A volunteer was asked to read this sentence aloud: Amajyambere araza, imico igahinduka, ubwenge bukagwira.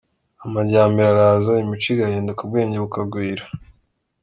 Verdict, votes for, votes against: accepted, 2, 0